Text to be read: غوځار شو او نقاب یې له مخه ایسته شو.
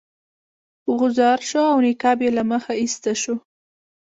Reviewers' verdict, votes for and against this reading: accepted, 2, 0